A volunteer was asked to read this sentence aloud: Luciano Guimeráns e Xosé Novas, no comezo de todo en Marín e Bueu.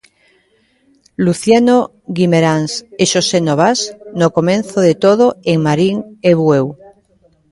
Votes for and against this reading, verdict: 0, 2, rejected